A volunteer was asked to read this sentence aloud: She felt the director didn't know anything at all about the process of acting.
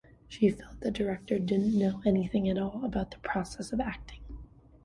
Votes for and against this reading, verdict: 2, 0, accepted